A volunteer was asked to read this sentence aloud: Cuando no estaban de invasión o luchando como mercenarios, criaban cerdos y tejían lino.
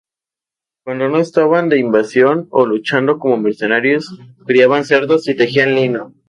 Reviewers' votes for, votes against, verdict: 2, 0, accepted